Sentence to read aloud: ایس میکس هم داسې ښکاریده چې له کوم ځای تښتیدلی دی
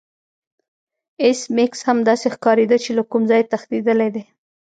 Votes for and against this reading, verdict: 2, 0, accepted